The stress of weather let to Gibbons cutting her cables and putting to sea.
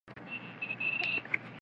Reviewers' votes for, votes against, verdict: 0, 2, rejected